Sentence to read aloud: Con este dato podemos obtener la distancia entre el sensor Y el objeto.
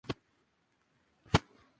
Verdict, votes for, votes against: rejected, 0, 2